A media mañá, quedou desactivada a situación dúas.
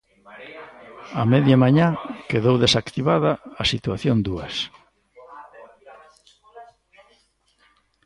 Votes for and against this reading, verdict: 1, 2, rejected